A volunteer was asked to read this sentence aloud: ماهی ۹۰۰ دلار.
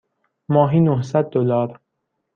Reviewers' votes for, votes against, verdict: 0, 2, rejected